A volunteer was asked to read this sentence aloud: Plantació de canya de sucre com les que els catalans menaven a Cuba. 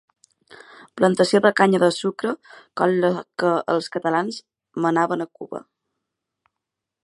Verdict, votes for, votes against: rejected, 0, 2